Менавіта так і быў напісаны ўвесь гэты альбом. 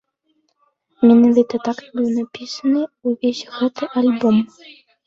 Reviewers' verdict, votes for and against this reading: rejected, 1, 2